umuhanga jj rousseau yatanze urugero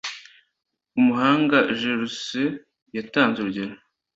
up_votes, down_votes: 2, 0